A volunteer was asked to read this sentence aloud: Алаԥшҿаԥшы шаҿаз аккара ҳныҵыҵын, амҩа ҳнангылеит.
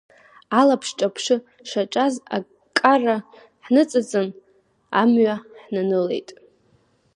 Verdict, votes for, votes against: rejected, 1, 2